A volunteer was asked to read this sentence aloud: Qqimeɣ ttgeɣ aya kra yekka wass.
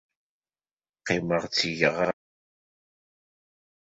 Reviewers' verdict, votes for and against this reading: rejected, 0, 2